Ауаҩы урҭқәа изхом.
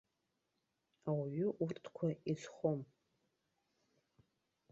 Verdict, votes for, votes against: accepted, 2, 0